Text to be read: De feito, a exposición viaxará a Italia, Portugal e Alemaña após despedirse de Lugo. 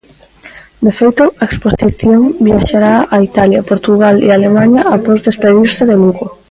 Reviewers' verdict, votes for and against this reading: rejected, 1, 2